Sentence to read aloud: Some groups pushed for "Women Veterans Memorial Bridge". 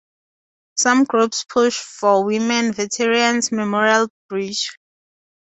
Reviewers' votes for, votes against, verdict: 2, 0, accepted